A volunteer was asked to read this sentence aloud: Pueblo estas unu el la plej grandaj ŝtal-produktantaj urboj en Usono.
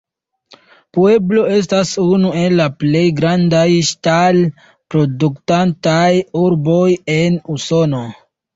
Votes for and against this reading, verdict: 2, 0, accepted